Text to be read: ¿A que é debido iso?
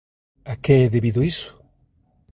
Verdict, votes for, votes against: rejected, 1, 2